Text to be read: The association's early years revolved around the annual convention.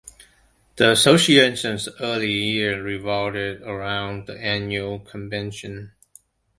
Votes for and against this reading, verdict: 0, 2, rejected